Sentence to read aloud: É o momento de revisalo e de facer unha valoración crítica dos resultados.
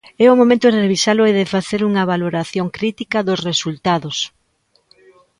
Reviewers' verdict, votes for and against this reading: rejected, 0, 2